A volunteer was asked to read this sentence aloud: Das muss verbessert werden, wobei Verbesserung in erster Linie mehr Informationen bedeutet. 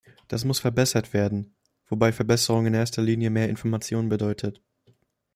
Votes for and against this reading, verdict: 1, 2, rejected